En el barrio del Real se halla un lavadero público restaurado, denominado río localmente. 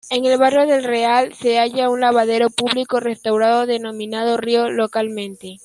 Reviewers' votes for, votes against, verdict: 2, 1, accepted